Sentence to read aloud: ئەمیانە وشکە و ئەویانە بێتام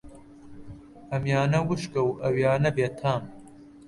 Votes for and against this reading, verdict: 1, 2, rejected